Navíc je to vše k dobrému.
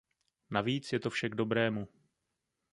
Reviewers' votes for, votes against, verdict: 2, 0, accepted